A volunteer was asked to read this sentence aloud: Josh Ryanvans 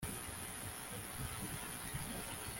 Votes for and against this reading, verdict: 0, 2, rejected